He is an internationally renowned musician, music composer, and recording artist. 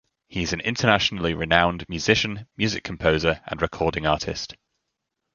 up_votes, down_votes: 2, 0